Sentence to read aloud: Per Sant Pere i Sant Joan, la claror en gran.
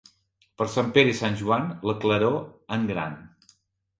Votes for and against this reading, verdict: 4, 0, accepted